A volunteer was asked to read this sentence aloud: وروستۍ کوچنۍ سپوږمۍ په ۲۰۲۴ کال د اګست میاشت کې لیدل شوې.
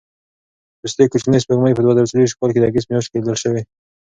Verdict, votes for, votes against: rejected, 0, 2